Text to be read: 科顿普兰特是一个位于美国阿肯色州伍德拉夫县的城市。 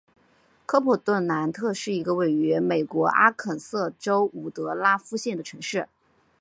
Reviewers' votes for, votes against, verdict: 2, 0, accepted